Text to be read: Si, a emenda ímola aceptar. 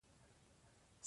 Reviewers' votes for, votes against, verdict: 1, 4, rejected